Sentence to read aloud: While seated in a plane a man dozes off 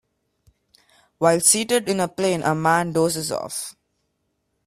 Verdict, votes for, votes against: accepted, 2, 0